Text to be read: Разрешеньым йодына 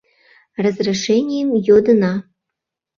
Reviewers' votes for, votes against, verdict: 0, 2, rejected